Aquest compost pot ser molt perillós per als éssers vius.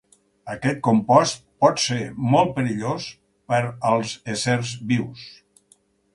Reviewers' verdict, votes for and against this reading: accepted, 4, 0